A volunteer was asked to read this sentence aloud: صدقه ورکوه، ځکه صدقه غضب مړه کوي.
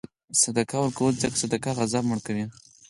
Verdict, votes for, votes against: accepted, 6, 0